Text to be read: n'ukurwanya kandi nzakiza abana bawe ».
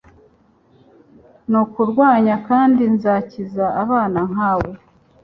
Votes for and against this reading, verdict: 1, 2, rejected